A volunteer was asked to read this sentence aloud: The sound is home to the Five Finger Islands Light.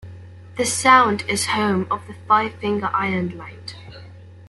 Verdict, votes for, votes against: rejected, 0, 2